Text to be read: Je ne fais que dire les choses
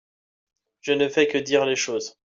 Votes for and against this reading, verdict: 2, 1, accepted